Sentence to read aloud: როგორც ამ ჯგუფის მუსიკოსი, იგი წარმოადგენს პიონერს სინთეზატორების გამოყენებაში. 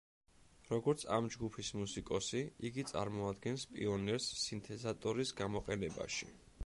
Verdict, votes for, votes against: rejected, 1, 2